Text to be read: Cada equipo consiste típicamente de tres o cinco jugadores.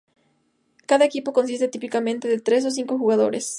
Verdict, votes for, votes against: accepted, 2, 0